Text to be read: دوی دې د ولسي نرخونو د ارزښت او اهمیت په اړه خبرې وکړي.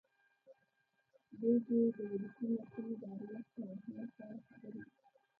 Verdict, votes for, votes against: rejected, 1, 2